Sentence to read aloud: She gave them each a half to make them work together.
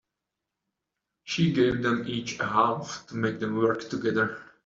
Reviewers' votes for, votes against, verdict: 2, 0, accepted